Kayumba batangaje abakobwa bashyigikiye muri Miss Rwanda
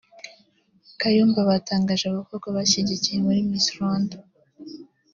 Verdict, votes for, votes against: accepted, 2, 0